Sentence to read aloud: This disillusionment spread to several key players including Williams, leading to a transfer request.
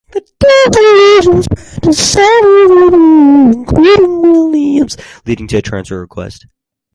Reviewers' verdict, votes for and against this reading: rejected, 0, 2